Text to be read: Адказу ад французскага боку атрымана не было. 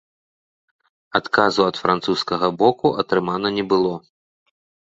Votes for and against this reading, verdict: 1, 2, rejected